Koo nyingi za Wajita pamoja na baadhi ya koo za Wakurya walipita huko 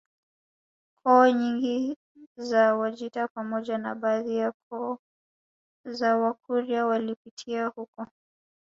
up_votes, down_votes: 1, 2